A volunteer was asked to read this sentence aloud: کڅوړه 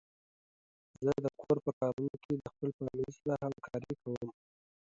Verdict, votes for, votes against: rejected, 0, 2